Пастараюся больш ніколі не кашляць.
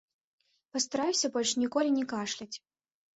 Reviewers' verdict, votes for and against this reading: accepted, 2, 0